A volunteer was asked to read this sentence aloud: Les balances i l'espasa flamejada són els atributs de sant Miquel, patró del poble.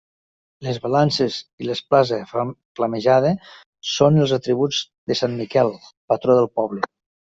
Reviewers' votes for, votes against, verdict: 0, 2, rejected